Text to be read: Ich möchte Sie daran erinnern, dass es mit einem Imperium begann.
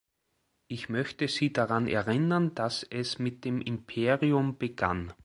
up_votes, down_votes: 1, 2